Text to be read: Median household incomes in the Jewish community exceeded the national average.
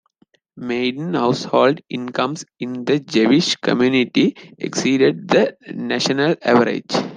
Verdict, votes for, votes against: accepted, 2, 1